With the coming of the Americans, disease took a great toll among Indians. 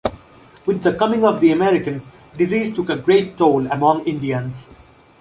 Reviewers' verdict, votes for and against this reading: accepted, 2, 0